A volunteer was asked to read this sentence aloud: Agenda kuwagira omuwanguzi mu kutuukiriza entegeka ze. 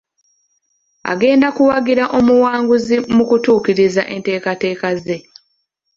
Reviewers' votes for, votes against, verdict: 1, 2, rejected